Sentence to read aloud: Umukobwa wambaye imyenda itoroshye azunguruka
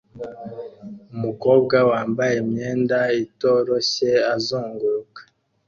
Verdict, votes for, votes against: accepted, 2, 0